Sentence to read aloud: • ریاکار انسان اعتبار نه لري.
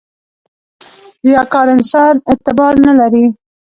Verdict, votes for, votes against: rejected, 1, 2